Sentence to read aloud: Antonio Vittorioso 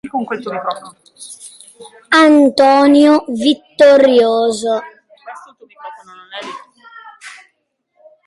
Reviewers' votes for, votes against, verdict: 1, 2, rejected